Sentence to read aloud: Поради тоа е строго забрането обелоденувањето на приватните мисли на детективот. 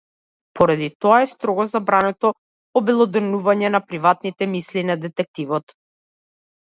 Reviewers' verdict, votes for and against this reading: rejected, 0, 2